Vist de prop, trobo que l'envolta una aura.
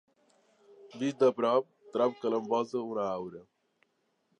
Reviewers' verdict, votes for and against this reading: accepted, 3, 1